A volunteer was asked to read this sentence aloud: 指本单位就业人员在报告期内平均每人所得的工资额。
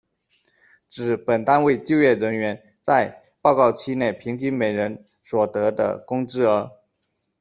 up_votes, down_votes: 2, 0